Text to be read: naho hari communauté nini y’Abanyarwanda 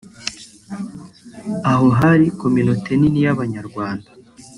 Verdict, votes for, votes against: rejected, 1, 2